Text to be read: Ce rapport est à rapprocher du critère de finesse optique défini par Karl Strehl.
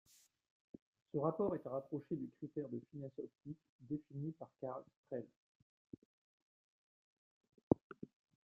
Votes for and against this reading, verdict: 1, 2, rejected